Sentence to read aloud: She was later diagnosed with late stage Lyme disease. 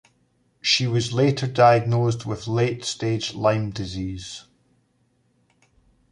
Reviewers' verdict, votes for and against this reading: accepted, 2, 0